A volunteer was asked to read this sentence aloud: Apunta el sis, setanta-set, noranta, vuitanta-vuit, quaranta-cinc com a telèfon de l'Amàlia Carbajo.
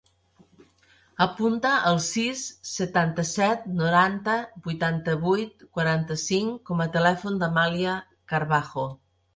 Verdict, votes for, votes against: rejected, 0, 2